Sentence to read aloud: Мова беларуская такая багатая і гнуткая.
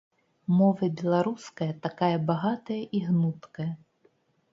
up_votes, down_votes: 2, 0